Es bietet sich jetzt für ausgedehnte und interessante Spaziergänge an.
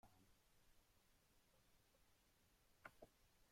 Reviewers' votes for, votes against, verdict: 1, 2, rejected